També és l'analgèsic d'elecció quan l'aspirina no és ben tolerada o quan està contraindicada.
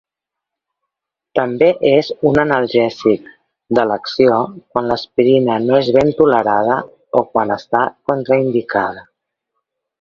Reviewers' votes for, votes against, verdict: 0, 2, rejected